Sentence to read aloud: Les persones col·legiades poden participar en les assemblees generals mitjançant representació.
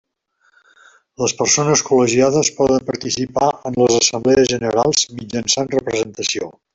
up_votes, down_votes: 1, 2